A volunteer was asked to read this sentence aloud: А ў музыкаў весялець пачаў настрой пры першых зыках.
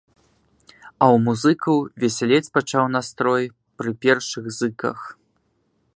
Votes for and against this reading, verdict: 2, 0, accepted